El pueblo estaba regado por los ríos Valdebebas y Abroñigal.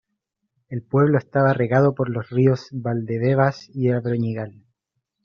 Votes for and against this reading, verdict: 2, 0, accepted